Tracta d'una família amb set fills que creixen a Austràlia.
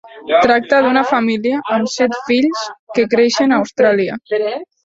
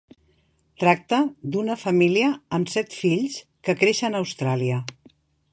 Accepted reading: second